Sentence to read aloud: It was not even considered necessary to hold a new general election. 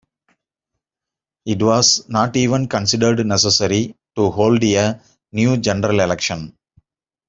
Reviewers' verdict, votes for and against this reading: accepted, 2, 1